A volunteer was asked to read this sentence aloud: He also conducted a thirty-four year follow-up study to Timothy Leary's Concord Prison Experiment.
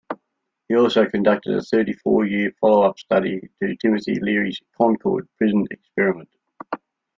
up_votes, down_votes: 2, 0